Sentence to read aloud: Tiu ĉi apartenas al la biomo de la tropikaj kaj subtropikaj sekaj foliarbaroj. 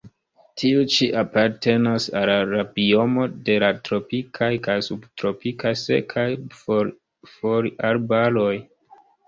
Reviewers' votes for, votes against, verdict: 3, 0, accepted